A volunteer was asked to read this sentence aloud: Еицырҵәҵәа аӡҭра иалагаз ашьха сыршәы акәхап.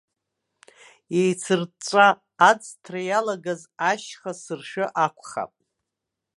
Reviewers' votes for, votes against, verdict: 1, 2, rejected